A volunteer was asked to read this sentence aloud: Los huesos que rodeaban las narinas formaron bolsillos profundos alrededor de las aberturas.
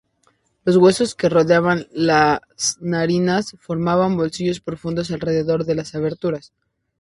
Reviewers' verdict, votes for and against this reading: rejected, 0, 2